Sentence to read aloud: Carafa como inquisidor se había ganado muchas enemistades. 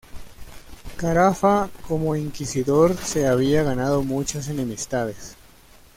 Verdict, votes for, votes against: accepted, 2, 0